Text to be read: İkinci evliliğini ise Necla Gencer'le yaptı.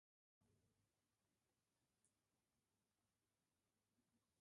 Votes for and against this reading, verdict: 0, 2, rejected